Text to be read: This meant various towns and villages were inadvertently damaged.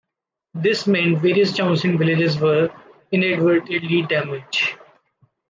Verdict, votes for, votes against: rejected, 0, 2